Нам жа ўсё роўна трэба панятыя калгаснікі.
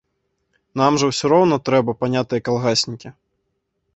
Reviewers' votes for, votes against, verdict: 0, 2, rejected